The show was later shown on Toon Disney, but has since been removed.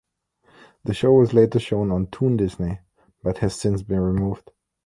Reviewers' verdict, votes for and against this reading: accepted, 2, 0